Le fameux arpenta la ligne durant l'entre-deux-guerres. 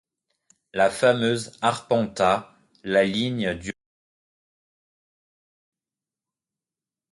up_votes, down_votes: 1, 2